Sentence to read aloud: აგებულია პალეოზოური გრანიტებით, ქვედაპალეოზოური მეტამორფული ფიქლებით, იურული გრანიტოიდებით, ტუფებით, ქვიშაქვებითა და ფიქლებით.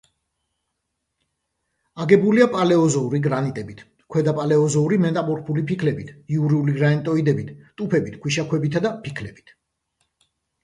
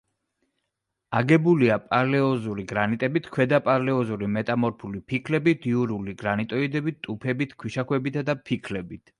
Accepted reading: first